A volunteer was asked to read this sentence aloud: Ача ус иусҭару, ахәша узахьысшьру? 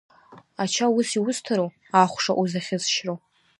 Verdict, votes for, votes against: rejected, 0, 2